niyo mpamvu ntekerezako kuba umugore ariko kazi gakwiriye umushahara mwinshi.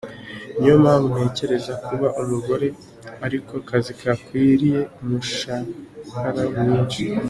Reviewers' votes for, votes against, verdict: 2, 0, accepted